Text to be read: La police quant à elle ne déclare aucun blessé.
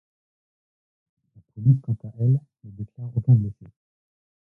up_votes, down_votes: 1, 2